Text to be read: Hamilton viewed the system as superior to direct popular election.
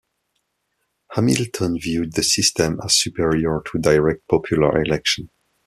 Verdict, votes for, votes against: accepted, 2, 0